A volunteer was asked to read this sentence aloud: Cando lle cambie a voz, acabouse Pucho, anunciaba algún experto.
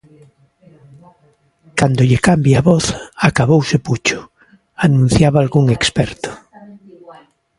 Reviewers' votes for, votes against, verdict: 3, 0, accepted